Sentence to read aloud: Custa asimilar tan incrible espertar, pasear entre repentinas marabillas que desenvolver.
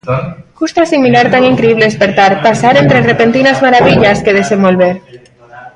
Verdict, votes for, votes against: rejected, 1, 2